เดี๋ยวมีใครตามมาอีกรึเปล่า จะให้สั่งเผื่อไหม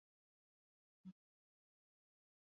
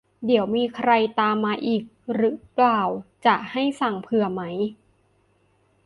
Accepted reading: second